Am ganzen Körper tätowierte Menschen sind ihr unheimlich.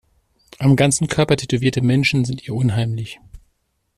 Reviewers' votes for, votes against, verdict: 2, 0, accepted